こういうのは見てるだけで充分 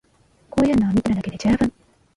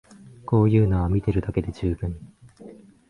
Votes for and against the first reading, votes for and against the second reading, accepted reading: 0, 2, 5, 0, second